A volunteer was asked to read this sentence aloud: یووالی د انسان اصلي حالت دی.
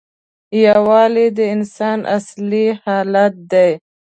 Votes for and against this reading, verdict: 2, 1, accepted